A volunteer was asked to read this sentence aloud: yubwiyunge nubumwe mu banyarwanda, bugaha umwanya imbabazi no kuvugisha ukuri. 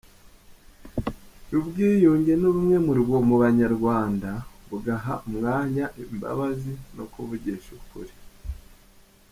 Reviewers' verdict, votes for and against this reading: accepted, 3, 2